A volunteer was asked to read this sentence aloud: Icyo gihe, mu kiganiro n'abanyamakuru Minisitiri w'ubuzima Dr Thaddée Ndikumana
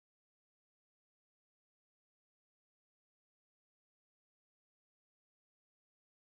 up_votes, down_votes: 1, 2